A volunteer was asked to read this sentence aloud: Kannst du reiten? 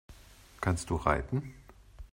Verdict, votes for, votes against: accepted, 2, 0